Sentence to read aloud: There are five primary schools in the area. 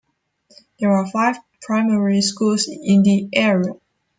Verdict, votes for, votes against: rejected, 0, 2